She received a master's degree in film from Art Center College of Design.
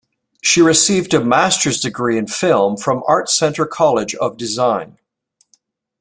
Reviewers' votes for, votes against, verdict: 2, 0, accepted